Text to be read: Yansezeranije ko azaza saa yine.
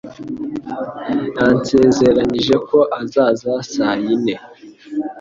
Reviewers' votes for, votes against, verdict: 2, 0, accepted